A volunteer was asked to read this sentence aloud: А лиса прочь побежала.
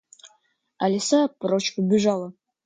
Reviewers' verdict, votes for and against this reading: rejected, 0, 2